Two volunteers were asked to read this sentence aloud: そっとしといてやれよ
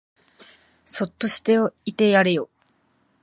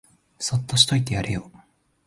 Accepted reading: second